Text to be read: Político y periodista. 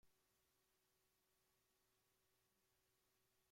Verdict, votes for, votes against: rejected, 0, 2